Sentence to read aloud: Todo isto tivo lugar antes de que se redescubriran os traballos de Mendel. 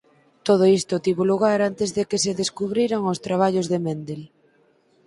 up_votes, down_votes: 2, 4